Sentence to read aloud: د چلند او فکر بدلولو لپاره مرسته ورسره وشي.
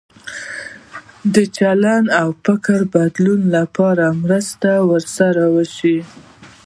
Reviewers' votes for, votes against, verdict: 1, 2, rejected